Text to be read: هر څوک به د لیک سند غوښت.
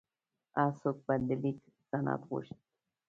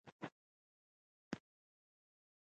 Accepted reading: first